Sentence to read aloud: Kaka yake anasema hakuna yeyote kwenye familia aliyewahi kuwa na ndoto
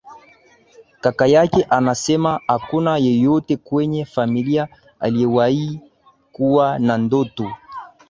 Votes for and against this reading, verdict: 7, 0, accepted